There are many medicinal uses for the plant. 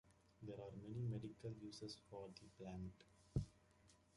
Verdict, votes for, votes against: rejected, 0, 2